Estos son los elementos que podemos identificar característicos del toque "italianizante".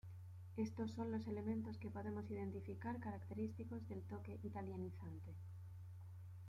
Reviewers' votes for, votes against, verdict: 0, 2, rejected